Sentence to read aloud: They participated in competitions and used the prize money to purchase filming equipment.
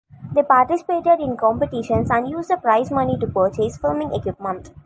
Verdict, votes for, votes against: accepted, 2, 0